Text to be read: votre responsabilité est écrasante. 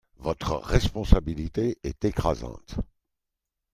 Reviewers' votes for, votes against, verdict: 2, 0, accepted